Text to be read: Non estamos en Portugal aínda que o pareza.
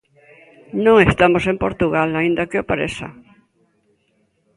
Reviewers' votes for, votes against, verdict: 1, 2, rejected